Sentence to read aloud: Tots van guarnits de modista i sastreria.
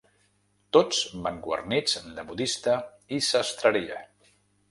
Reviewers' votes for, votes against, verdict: 2, 1, accepted